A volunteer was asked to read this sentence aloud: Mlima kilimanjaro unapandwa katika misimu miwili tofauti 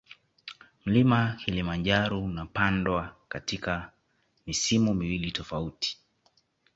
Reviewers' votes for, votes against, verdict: 2, 0, accepted